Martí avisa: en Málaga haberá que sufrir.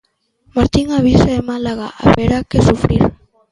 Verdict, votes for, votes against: rejected, 0, 2